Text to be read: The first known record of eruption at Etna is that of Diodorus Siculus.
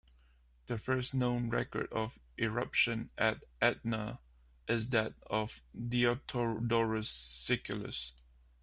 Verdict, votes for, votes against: rejected, 1, 2